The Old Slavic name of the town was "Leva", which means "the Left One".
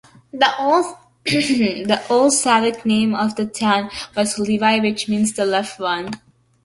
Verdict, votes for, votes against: rejected, 0, 2